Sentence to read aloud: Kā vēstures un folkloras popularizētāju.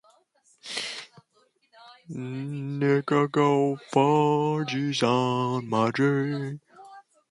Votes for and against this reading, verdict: 0, 2, rejected